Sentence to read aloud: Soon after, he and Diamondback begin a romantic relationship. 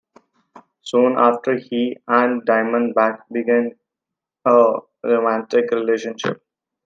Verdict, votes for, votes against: accepted, 2, 1